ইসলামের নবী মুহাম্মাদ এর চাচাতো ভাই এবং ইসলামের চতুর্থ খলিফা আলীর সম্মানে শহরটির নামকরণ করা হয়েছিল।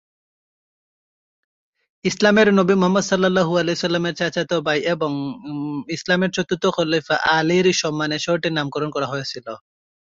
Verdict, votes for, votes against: rejected, 0, 2